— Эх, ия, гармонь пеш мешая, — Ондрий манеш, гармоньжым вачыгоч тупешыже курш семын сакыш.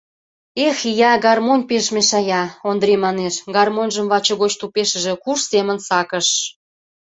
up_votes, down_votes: 2, 0